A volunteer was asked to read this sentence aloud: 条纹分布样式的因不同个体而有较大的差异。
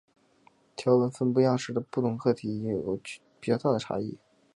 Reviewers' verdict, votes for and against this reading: rejected, 1, 2